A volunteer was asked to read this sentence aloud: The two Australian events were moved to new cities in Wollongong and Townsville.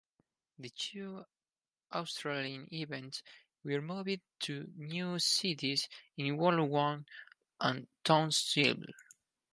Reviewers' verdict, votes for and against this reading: accepted, 6, 2